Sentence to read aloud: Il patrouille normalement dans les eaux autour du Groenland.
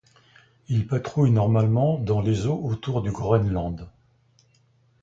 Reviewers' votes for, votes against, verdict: 2, 0, accepted